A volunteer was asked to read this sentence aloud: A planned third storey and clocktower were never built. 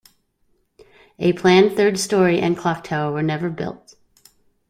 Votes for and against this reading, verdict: 2, 0, accepted